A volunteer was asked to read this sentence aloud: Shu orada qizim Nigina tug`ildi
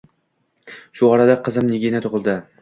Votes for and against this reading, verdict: 3, 0, accepted